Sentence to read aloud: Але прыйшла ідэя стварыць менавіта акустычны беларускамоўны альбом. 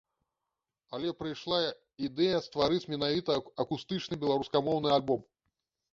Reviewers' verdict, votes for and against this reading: accepted, 2, 0